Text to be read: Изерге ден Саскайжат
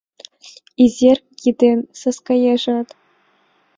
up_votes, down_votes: 0, 2